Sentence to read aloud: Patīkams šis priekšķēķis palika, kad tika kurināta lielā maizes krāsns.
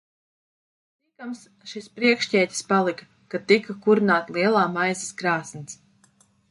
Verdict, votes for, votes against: rejected, 1, 2